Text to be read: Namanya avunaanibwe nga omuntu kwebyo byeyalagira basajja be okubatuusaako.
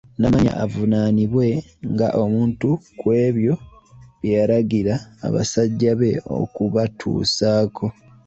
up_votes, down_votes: 2, 1